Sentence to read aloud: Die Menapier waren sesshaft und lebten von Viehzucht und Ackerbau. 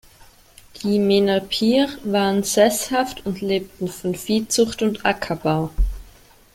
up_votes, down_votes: 0, 2